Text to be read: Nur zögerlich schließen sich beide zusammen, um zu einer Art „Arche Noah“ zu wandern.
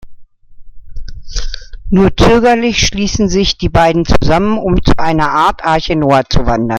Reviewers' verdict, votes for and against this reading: rejected, 0, 2